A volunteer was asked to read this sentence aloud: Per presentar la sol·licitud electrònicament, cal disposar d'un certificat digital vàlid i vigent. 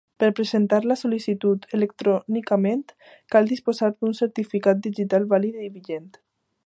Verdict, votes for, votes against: accepted, 2, 0